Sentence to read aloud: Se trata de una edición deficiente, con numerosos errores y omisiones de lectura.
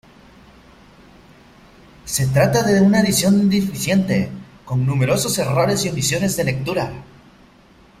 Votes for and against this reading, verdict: 3, 2, accepted